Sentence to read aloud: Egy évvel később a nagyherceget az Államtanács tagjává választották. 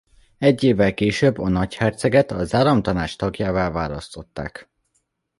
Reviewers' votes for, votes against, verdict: 2, 0, accepted